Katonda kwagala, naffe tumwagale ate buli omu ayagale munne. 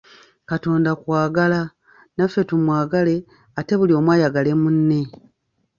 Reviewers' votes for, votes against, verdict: 2, 0, accepted